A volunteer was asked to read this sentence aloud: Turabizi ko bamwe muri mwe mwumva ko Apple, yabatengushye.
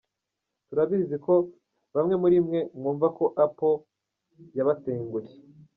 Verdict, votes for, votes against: rejected, 0, 2